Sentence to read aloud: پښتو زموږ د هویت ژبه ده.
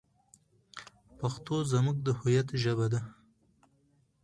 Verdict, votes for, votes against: accepted, 4, 0